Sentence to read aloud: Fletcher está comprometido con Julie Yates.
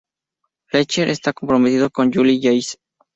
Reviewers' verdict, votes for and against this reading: accepted, 2, 0